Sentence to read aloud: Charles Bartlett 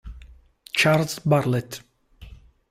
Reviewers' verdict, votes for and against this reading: rejected, 0, 2